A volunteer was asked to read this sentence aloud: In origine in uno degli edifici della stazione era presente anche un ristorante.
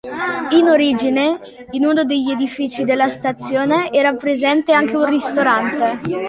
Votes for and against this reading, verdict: 2, 0, accepted